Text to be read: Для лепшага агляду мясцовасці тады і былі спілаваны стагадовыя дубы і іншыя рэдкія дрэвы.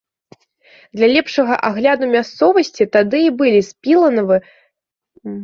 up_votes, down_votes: 0, 2